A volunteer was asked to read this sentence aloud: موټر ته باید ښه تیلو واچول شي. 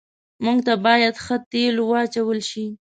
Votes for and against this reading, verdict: 1, 3, rejected